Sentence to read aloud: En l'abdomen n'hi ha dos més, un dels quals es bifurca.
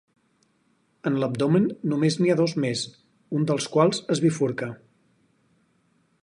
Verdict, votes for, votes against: rejected, 0, 4